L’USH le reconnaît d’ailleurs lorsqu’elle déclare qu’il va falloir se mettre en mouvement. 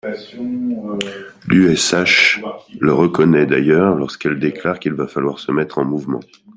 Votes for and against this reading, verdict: 2, 1, accepted